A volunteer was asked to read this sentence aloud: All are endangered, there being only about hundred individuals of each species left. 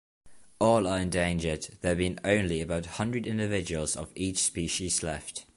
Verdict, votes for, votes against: accepted, 2, 0